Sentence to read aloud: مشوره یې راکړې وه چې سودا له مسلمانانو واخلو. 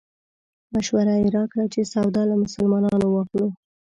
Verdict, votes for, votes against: accepted, 2, 0